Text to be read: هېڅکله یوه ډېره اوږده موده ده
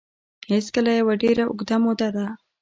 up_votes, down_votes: 2, 0